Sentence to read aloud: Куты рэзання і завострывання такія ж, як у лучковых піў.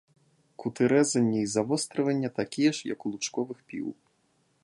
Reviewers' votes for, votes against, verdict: 2, 0, accepted